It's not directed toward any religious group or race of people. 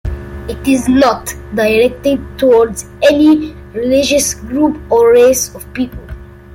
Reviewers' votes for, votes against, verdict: 0, 2, rejected